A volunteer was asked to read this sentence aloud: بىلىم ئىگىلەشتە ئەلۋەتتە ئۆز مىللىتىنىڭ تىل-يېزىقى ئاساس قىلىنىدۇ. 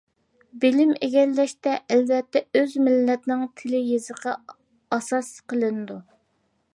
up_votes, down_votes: 1, 2